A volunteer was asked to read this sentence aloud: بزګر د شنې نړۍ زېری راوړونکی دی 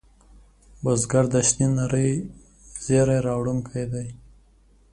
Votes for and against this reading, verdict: 3, 2, accepted